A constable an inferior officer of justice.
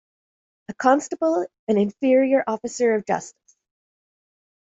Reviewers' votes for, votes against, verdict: 0, 2, rejected